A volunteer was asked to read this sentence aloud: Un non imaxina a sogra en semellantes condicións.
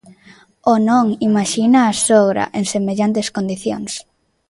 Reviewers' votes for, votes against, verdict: 0, 2, rejected